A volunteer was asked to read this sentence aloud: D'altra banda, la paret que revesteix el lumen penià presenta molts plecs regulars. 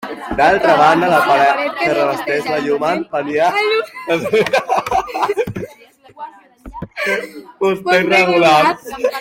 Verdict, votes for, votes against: rejected, 0, 2